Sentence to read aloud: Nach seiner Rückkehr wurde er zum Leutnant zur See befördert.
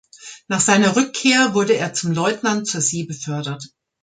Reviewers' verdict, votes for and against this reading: accepted, 2, 0